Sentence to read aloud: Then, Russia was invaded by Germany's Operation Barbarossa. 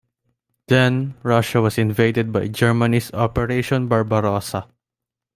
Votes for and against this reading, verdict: 2, 0, accepted